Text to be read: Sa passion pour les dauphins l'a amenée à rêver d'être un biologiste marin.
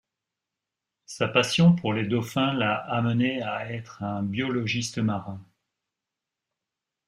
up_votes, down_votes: 1, 2